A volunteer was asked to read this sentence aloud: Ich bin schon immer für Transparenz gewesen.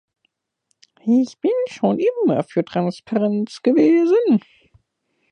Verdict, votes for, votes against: rejected, 0, 2